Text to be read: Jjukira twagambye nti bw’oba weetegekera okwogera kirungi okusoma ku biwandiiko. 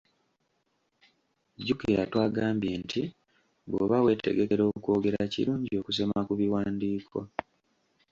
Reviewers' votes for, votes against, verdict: 2, 1, accepted